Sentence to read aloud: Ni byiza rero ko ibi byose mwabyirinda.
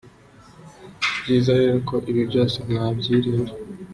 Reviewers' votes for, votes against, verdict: 2, 0, accepted